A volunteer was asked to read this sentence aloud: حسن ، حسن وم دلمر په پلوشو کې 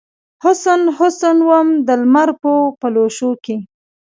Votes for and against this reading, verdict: 2, 1, accepted